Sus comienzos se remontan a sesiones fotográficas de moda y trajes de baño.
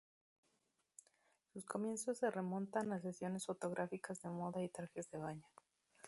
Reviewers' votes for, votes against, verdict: 2, 4, rejected